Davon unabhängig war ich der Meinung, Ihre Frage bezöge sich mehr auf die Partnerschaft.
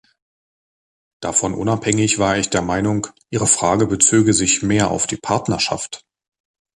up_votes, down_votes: 2, 0